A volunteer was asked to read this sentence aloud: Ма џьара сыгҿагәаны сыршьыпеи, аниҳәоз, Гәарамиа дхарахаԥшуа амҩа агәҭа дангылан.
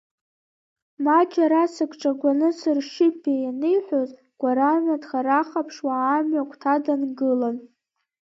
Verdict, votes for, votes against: rejected, 0, 2